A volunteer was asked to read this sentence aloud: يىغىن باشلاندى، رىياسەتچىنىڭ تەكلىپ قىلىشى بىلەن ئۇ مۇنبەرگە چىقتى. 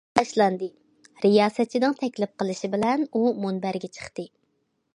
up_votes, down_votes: 0, 2